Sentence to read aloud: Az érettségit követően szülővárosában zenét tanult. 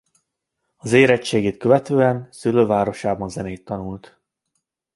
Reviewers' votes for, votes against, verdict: 2, 0, accepted